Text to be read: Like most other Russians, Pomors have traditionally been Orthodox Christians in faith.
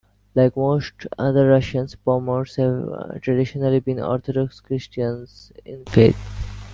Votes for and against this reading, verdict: 1, 2, rejected